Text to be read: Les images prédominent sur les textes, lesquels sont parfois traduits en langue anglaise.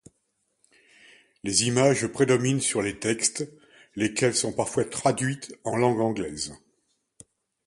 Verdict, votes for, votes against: rejected, 1, 2